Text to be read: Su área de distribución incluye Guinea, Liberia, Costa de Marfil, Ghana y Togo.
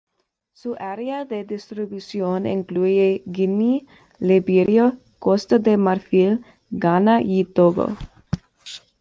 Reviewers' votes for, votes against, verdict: 0, 2, rejected